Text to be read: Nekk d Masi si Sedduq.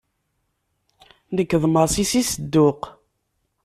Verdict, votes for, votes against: accepted, 2, 0